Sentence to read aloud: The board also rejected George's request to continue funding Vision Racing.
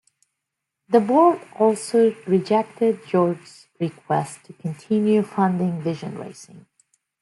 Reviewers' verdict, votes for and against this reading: rejected, 1, 2